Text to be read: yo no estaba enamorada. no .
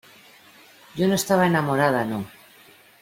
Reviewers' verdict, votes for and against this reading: accepted, 2, 0